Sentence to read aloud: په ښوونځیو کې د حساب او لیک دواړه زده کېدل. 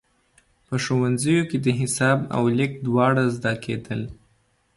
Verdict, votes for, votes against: accepted, 2, 0